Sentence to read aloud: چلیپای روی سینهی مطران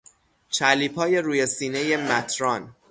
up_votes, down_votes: 0, 3